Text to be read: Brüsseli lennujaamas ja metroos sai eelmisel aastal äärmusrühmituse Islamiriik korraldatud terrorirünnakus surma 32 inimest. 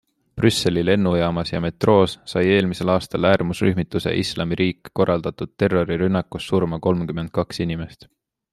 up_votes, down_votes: 0, 2